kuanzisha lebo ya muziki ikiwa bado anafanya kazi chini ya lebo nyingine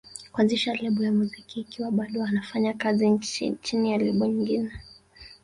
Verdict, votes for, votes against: rejected, 1, 2